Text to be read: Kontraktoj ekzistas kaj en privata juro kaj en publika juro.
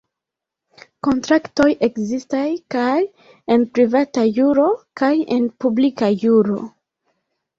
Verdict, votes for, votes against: rejected, 0, 2